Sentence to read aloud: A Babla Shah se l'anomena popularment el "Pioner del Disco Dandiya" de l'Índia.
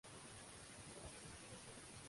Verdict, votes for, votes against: rejected, 0, 2